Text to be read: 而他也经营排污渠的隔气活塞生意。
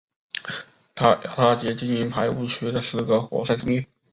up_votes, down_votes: 0, 5